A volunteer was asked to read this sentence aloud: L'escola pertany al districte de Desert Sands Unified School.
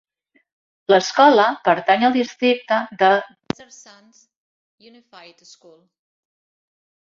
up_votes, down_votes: 0, 2